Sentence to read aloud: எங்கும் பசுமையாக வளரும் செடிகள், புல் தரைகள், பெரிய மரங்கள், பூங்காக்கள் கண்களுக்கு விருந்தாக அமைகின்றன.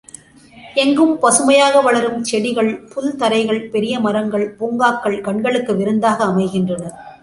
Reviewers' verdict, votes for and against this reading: accepted, 2, 0